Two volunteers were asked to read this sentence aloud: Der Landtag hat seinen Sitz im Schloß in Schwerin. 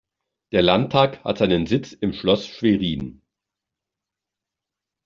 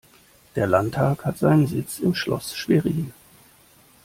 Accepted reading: first